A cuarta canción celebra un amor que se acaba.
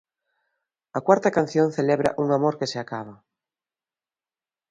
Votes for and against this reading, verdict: 2, 0, accepted